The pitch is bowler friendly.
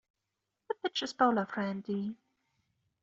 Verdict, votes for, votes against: rejected, 0, 2